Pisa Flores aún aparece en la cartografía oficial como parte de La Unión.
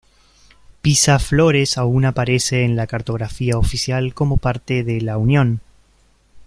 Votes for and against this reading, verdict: 2, 0, accepted